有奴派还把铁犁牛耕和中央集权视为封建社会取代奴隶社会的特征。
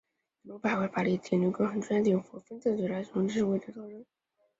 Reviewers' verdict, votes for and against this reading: rejected, 1, 2